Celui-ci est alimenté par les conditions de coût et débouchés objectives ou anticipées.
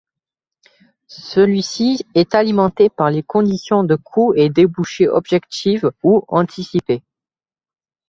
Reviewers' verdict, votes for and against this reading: rejected, 0, 2